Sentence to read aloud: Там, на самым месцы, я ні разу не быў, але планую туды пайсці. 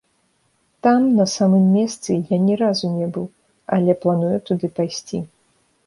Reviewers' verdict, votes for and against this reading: accepted, 2, 0